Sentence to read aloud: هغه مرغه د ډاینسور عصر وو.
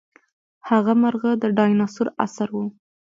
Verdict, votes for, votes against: rejected, 1, 2